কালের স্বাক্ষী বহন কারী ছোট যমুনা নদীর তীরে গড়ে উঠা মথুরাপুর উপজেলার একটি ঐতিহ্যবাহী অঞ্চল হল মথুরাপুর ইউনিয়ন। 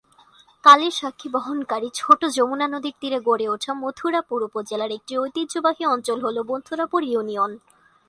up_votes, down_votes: 2, 0